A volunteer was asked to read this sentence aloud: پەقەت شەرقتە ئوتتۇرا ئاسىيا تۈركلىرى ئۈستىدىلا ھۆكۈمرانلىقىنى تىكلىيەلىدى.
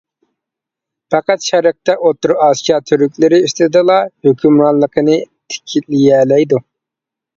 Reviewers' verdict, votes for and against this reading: rejected, 0, 2